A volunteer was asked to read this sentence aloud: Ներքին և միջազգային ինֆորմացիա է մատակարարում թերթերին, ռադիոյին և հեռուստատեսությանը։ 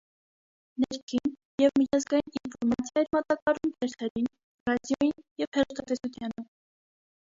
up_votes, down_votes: 1, 2